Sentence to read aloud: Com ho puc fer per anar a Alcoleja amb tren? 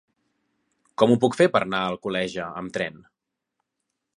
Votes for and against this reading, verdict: 3, 0, accepted